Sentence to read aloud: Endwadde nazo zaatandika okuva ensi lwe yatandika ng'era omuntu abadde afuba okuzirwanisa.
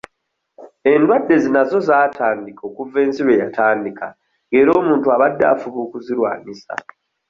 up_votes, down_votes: 1, 2